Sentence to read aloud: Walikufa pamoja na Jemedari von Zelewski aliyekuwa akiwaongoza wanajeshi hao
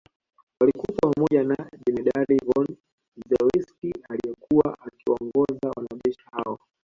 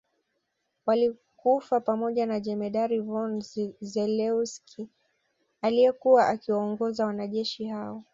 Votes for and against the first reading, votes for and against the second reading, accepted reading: 1, 2, 2, 1, second